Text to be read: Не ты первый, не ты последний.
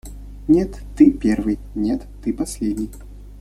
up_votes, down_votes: 1, 2